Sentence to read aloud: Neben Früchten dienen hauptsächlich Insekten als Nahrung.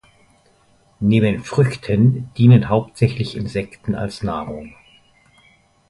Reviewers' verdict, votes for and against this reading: accepted, 2, 0